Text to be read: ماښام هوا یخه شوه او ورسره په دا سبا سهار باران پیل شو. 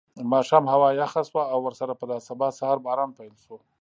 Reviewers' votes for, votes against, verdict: 2, 0, accepted